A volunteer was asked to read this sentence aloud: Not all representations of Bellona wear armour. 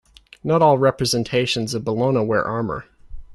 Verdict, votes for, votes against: accepted, 2, 0